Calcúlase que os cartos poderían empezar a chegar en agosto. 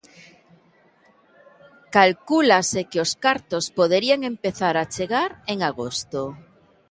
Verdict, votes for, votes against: accepted, 2, 0